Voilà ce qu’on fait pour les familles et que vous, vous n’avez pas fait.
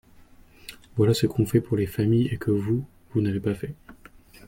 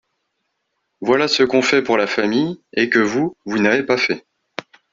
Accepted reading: first